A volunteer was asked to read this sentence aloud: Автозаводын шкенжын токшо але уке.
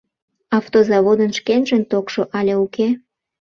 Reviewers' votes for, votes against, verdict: 2, 0, accepted